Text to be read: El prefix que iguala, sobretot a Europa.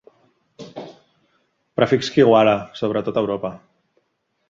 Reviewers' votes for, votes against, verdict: 0, 3, rejected